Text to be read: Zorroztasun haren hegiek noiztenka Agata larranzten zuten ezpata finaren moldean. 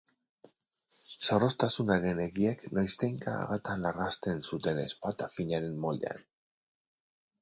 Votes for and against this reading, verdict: 2, 0, accepted